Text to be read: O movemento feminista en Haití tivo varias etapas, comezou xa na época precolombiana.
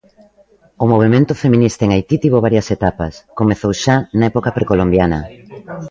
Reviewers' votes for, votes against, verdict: 2, 0, accepted